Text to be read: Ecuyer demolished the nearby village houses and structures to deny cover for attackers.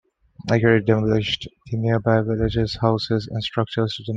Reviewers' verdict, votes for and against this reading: rejected, 0, 2